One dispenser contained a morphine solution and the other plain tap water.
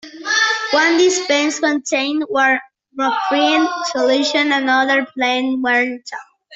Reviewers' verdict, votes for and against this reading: rejected, 0, 2